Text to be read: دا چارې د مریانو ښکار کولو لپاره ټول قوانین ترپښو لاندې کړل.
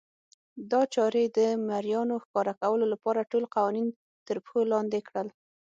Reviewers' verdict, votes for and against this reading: accepted, 6, 3